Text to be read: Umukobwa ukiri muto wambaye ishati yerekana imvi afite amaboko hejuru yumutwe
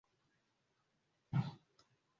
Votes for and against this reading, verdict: 0, 2, rejected